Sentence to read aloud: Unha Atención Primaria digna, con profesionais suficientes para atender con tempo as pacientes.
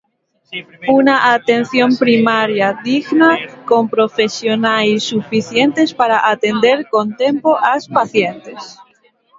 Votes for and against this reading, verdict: 0, 2, rejected